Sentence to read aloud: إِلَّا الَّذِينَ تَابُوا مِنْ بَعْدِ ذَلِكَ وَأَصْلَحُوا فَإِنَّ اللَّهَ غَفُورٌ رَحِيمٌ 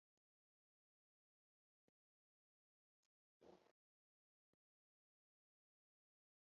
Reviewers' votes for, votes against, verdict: 0, 2, rejected